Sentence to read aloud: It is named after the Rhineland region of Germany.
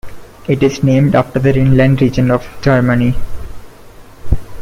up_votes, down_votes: 2, 3